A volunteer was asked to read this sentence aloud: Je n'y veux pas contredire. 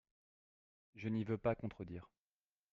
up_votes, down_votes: 2, 0